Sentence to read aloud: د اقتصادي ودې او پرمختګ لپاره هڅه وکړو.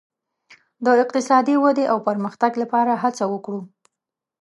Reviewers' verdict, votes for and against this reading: accepted, 2, 0